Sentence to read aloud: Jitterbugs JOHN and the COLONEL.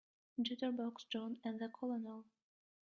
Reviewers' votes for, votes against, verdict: 1, 2, rejected